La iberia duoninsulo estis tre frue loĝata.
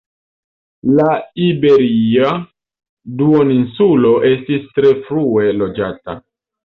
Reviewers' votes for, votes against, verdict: 2, 0, accepted